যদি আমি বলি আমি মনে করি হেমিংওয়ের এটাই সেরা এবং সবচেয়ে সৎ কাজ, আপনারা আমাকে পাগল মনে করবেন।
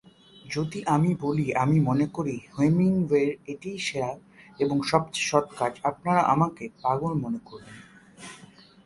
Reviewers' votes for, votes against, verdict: 3, 1, accepted